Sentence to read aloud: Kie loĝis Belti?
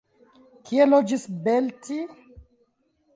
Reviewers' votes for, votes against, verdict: 2, 1, accepted